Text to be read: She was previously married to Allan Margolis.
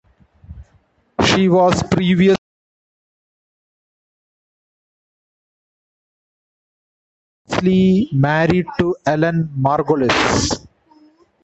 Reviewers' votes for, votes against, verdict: 0, 2, rejected